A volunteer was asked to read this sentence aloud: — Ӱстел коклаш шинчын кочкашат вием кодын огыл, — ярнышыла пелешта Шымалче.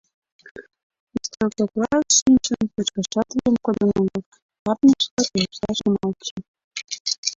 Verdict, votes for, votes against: rejected, 0, 2